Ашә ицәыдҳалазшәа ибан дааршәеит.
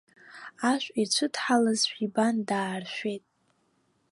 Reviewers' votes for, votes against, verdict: 2, 0, accepted